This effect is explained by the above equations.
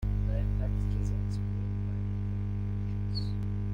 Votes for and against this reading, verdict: 0, 2, rejected